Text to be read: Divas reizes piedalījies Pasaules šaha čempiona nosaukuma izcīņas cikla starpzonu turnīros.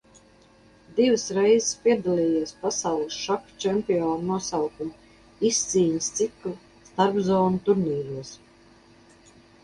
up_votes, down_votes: 2, 2